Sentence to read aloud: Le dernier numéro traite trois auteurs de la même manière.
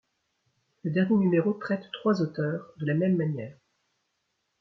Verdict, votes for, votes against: rejected, 1, 2